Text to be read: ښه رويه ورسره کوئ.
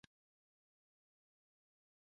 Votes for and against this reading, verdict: 0, 2, rejected